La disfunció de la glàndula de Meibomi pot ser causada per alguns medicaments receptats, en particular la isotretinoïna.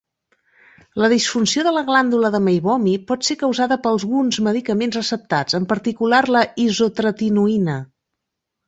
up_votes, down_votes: 1, 2